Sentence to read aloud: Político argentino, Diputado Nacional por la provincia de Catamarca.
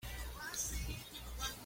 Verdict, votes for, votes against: rejected, 0, 2